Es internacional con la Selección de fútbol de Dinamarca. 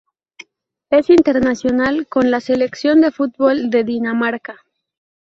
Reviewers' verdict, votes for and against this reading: accepted, 2, 0